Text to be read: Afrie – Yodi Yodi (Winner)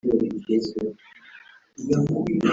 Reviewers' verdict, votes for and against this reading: rejected, 0, 3